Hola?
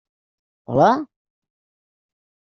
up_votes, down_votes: 3, 0